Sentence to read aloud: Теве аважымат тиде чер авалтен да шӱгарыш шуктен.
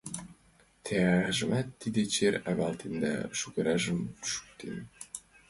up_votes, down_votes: 0, 2